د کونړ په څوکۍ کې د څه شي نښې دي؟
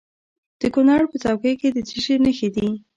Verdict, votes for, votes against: accepted, 2, 0